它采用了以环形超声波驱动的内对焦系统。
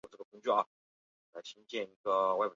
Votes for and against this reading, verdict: 0, 2, rejected